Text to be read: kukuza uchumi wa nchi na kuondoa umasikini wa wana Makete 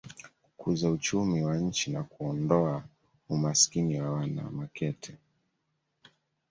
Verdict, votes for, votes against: accepted, 2, 0